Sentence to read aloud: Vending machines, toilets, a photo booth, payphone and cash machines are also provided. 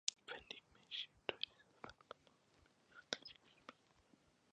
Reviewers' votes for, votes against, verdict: 0, 2, rejected